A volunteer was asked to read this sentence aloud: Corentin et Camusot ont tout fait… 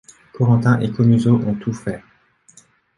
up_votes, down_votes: 0, 2